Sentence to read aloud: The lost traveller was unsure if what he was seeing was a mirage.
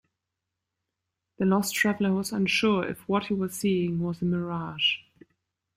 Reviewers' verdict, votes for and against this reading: accepted, 2, 0